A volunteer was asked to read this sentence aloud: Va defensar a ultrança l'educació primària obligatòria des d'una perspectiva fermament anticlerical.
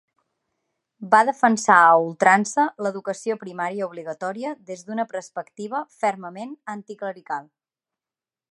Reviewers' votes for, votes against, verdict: 3, 0, accepted